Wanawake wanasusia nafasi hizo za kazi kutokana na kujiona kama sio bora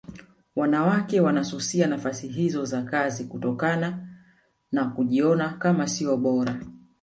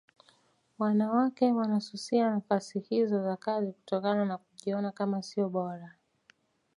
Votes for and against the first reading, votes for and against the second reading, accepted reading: 1, 2, 2, 0, second